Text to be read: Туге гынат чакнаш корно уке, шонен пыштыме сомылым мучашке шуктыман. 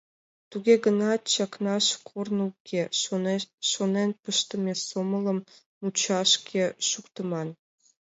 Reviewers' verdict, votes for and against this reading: rejected, 0, 3